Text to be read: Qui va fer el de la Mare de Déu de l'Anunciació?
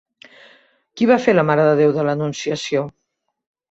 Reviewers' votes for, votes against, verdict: 2, 1, accepted